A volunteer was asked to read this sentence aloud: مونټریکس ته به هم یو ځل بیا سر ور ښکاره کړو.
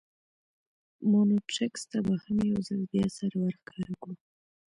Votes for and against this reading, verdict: 2, 0, accepted